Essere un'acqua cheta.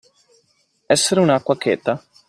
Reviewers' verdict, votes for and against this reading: accepted, 2, 0